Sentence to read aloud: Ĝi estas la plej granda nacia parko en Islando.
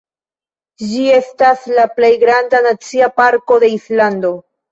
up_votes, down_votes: 0, 2